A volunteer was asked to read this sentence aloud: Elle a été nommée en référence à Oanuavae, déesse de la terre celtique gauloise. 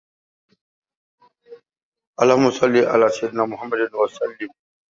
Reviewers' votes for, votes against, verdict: 1, 2, rejected